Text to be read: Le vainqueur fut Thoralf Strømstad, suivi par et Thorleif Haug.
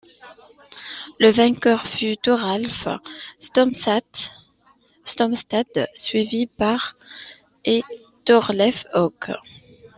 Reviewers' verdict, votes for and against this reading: rejected, 0, 2